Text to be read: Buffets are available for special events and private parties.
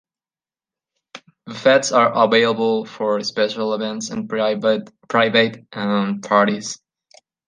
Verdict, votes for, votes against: rejected, 0, 2